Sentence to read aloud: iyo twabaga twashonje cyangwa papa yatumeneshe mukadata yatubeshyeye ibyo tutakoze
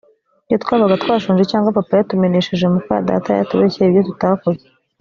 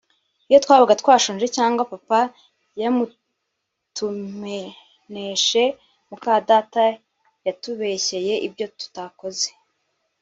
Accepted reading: first